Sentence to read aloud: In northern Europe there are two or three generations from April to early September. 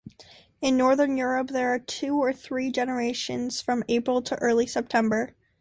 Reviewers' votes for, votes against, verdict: 2, 0, accepted